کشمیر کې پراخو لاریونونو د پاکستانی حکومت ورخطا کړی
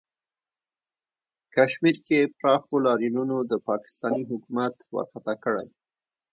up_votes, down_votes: 1, 2